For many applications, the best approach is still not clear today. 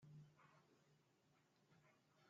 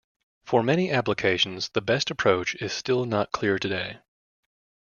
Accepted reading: second